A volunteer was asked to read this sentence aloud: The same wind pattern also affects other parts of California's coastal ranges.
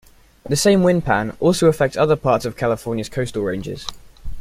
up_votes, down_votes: 1, 2